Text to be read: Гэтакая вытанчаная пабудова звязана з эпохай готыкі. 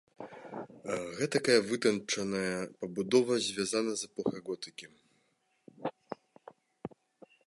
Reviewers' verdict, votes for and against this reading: rejected, 0, 2